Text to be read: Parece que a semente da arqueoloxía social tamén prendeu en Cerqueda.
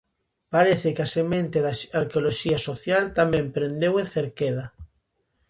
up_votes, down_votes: 0, 2